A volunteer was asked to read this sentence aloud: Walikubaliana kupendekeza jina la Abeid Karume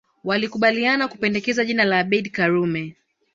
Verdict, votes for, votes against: rejected, 0, 2